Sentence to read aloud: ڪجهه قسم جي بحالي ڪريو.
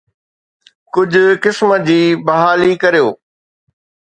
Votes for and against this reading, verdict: 2, 0, accepted